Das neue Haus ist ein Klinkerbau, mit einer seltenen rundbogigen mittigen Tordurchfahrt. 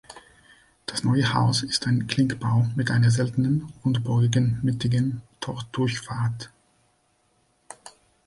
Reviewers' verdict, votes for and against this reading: accepted, 2, 0